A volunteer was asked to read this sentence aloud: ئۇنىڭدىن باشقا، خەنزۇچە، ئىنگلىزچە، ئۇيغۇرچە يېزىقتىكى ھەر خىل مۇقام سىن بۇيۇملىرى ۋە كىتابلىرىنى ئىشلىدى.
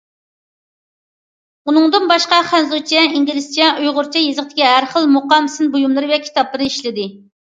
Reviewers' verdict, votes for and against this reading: rejected, 0, 2